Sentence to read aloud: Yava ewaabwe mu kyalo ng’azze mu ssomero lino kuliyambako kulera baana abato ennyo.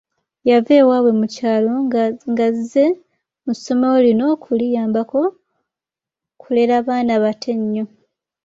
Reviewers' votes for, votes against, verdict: 1, 2, rejected